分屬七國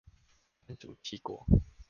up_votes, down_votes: 1, 2